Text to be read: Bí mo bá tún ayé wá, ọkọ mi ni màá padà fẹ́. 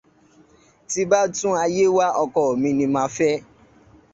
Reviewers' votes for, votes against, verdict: 1, 2, rejected